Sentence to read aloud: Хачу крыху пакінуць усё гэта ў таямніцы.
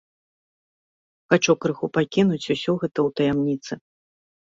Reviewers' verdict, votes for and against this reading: accepted, 2, 0